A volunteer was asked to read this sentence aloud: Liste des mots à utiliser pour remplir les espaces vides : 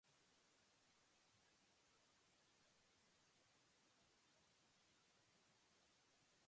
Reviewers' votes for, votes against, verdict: 0, 2, rejected